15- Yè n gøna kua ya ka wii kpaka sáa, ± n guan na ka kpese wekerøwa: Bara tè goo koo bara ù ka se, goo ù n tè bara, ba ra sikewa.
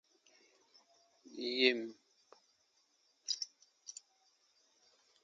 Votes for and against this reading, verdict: 0, 2, rejected